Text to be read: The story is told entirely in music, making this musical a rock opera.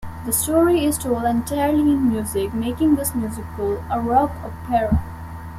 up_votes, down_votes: 2, 0